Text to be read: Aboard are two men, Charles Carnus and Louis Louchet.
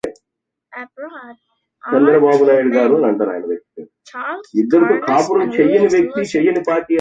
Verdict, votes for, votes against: rejected, 0, 2